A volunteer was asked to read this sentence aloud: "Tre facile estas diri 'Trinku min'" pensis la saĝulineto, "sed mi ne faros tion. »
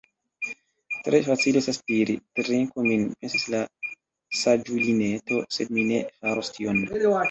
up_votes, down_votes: 1, 2